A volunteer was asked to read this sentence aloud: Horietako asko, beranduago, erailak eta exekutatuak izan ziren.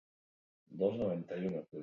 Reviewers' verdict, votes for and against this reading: rejected, 0, 4